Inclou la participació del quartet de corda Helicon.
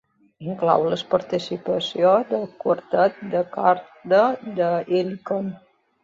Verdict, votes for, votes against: accepted, 2, 1